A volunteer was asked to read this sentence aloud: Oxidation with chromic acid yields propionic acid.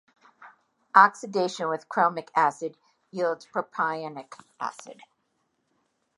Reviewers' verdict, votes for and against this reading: accepted, 2, 0